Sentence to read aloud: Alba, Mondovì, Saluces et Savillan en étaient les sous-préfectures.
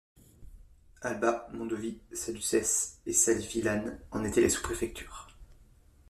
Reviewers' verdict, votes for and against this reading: rejected, 0, 2